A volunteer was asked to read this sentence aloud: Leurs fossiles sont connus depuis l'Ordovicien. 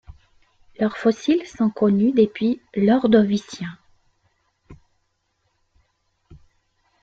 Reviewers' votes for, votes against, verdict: 2, 0, accepted